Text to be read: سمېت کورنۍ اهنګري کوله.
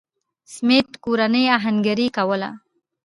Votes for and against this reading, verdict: 1, 2, rejected